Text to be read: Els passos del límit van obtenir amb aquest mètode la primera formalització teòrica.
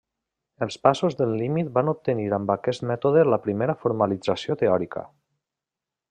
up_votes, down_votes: 3, 0